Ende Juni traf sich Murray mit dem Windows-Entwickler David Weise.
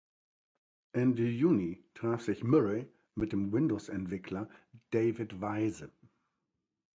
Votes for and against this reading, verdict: 1, 2, rejected